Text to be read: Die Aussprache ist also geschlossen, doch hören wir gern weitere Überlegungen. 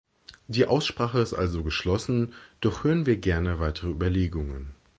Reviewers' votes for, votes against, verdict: 0, 2, rejected